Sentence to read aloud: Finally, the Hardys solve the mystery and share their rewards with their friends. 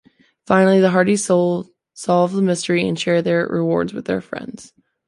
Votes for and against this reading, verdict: 0, 2, rejected